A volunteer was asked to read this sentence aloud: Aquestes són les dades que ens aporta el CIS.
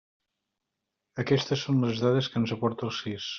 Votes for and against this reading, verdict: 2, 0, accepted